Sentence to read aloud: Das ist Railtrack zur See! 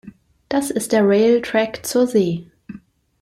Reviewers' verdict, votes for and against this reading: accepted, 2, 0